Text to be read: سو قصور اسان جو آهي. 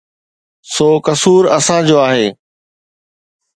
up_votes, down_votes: 2, 0